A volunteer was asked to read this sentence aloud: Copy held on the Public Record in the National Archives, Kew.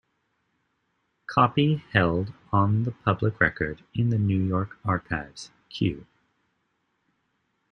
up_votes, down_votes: 0, 2